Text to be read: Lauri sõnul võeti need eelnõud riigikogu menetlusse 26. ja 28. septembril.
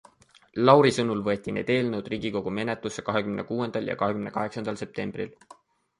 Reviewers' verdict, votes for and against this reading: rejected, 0, 2